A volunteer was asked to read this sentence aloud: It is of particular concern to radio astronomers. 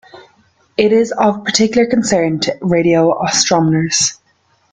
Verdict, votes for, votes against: accepted, 2, 0